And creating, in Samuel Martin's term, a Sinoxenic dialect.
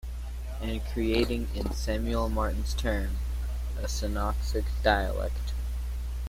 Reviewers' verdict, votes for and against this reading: rejected, 2, 3